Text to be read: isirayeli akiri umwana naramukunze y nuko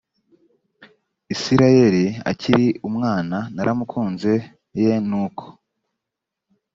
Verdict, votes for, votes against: accepted, 2, 0